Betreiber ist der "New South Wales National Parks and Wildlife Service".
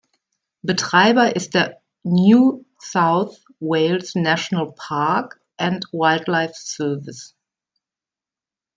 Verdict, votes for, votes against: rejected, 0, 2